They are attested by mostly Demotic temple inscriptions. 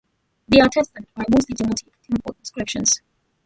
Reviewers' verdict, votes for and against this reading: rejected, 0, 2